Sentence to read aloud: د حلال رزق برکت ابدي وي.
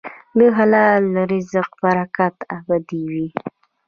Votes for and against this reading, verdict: 2, 1, accepted